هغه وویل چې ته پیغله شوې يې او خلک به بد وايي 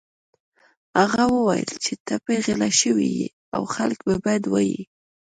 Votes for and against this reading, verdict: 0, 2, rejected